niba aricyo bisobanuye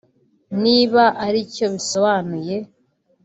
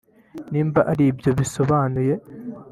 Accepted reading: first